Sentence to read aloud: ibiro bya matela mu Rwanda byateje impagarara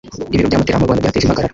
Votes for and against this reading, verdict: 1, 2, rejected